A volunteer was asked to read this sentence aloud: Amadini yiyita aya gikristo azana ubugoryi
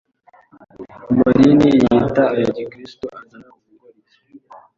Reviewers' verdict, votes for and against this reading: rejected, 1, 2